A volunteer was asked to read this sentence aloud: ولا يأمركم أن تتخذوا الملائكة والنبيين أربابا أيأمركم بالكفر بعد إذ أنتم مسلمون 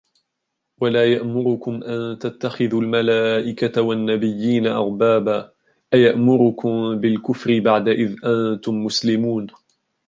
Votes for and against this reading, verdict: 0, 2, rejected